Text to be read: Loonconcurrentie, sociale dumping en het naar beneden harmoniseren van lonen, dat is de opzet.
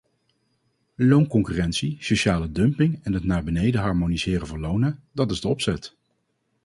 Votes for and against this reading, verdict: 2, 0, accepted